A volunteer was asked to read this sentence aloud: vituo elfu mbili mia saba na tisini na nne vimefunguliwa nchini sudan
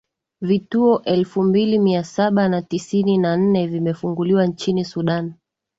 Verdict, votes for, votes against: accepted, 2, 0